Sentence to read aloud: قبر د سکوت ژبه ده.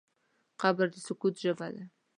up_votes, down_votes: 2, 1